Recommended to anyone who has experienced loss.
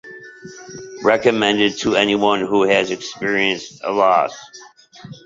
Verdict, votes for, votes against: rejected, 1, 2